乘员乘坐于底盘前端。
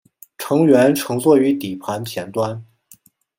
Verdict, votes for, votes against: accepted, 2, 0